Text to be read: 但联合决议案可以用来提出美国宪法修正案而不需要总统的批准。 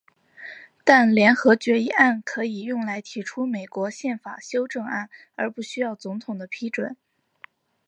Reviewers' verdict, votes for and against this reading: accepted, 3, 0